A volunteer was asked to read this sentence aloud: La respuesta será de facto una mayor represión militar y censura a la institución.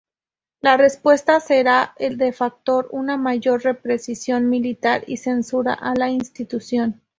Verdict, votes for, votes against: rejected, 0, 2